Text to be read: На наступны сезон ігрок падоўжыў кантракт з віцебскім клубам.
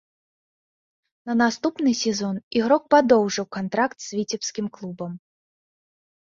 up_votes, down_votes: 2, 0